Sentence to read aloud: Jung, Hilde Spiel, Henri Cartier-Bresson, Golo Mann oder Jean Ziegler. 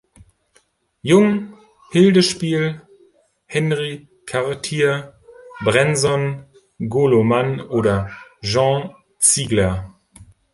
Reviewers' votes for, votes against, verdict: 0, 2, rejected